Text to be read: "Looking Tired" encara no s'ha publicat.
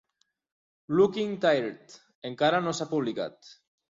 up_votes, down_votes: 2, 0